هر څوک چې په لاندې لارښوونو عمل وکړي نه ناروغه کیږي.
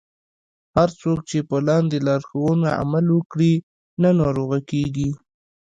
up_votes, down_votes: 2, 0